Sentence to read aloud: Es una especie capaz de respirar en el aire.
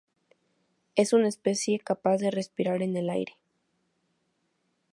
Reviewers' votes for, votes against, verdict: 2, 2, rejected